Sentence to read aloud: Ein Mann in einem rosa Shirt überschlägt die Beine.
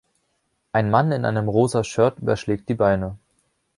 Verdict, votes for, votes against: accepted, 2, 0